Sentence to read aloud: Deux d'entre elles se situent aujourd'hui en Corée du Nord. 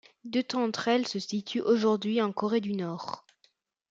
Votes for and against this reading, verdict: 2, 0, accepted